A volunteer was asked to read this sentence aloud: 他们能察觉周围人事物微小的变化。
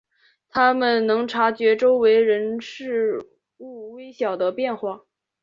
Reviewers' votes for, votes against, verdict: 1, 2, rejected